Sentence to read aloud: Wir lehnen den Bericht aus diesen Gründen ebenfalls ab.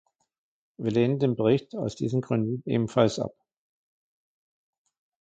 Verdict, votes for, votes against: accepted, 2, 0